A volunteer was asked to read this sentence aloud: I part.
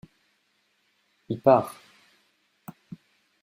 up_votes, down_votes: 0, 2